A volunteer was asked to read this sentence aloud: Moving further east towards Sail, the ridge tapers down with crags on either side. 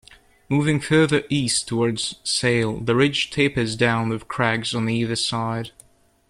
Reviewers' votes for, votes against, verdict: 2, 0, accepted